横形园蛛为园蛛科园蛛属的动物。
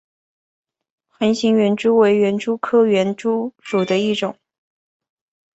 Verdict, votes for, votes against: rejected, 2, 2